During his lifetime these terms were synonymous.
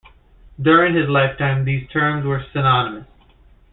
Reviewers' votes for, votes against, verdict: 2, 1, accepted